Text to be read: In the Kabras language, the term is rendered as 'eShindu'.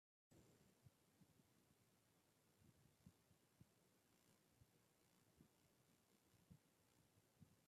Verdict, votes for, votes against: rejected, 0, 2